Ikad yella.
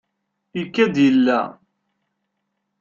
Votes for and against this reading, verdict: 2, 0, accepted